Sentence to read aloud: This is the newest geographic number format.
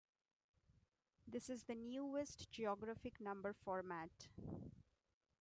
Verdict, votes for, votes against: accepted, 2, 1